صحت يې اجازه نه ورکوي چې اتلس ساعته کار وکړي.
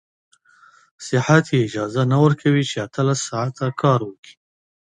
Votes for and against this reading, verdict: 2, 0, accepted